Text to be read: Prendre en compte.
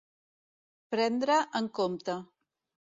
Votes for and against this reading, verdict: 2, 0, accepted